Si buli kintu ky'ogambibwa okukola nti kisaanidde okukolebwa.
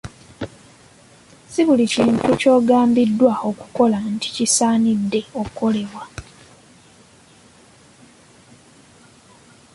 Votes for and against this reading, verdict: 0, 2, rejected